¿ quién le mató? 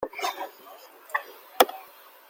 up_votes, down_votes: 0, 2